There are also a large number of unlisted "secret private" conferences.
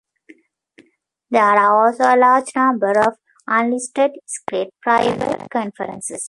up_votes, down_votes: 1, 2